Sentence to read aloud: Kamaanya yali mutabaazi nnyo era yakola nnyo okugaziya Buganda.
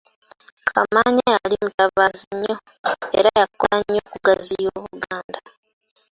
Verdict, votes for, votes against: rejected, 0, 2